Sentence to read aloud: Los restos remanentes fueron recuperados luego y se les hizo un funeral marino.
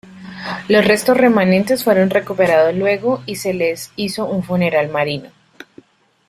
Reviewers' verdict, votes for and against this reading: accepted, 2, 0